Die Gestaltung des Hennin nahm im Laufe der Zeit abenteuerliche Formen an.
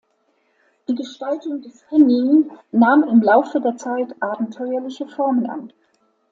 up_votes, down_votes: 2, 0